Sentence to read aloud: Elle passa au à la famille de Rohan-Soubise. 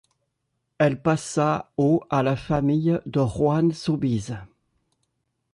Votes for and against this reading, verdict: 2, 0, accepted